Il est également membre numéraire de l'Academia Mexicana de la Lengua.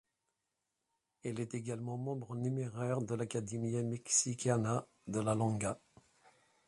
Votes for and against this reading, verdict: 1, 2, rejected